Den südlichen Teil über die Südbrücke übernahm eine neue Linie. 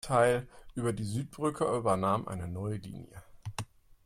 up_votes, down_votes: 0, 2